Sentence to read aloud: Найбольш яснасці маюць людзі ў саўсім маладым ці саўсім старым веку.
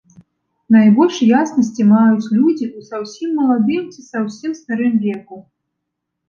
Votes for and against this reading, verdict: 1, 2, rejected